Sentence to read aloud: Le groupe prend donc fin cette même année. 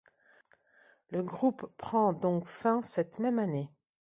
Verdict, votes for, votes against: accepted, 2, 0